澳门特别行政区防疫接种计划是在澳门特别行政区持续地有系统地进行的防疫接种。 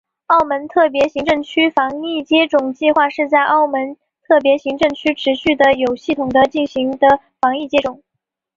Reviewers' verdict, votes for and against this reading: accepted, 6, 0